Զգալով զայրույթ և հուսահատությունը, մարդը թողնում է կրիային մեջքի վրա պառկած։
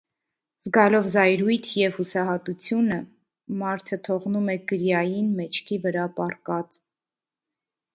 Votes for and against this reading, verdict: 2, 0, accepted